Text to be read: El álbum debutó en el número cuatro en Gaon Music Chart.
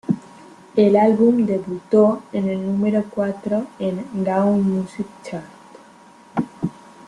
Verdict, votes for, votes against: rejected, 1, 2